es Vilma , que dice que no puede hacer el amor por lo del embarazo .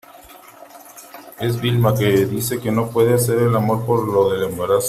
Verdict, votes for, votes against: rejected, 1, 2